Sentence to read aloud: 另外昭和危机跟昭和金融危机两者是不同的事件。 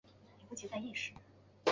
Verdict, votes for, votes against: rejected, 0, 5